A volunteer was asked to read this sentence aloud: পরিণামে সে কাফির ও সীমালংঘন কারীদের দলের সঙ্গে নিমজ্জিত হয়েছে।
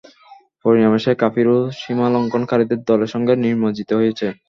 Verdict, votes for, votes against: accepted, 2, 0